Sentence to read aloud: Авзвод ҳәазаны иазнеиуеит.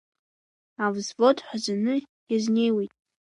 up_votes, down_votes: 2, 0